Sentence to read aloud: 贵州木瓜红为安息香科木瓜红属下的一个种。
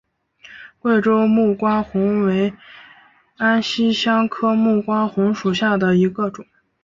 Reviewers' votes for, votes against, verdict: 3, 0, accepted